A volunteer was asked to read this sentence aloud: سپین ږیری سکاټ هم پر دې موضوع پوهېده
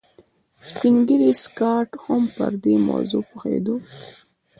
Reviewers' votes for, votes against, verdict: 1, 2, rejected